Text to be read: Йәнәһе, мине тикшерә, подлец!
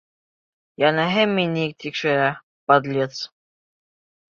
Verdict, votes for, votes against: accepted, 2, 0